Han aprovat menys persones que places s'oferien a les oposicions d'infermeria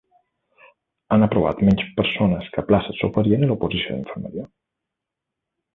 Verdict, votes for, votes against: rejected, 0, 2